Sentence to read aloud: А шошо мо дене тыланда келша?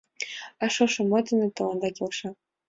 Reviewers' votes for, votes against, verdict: 2, 0, accepted